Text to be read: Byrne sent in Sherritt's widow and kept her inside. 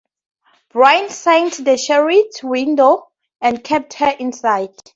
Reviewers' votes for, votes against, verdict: 0, 2, rejected